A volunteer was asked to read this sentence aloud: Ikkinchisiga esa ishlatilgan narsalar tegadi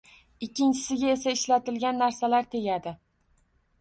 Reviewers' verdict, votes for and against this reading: accepted, 2, 0